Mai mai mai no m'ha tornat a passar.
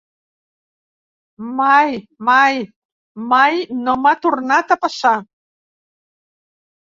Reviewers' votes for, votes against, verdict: 3, 0, accepted